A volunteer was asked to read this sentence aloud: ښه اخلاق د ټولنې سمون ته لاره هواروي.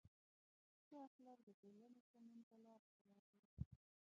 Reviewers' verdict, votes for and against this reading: rejected, 0, 2